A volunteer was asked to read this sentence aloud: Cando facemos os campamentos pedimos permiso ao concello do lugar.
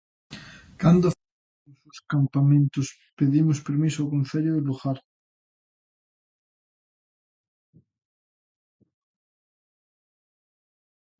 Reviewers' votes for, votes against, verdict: 0, 2, rejected